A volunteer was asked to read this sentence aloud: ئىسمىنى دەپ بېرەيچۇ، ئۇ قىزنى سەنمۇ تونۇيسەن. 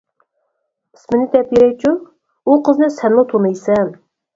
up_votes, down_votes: 4, 0